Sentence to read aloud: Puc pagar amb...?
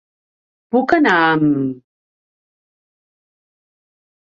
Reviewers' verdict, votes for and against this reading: rejected, 1, 2